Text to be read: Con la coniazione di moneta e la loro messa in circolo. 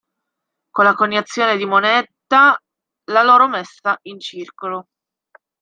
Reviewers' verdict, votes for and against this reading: rejected, 0, 2